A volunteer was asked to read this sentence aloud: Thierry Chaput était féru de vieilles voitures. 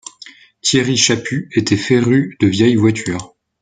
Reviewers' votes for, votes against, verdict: 2, 0, accepted